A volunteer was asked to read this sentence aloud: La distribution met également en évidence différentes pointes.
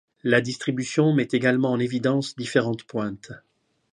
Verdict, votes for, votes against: accepted, 2, 0